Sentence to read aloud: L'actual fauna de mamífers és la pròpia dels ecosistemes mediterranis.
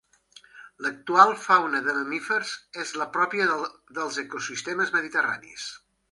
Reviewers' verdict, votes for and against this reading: rejected, 1, 2